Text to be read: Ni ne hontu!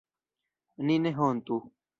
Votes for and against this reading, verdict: 1, 2, rejected